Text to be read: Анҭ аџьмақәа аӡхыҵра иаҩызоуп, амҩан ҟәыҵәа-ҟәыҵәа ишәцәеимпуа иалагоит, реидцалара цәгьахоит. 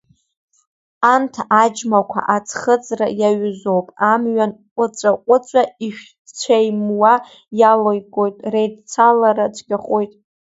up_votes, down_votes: 0, 2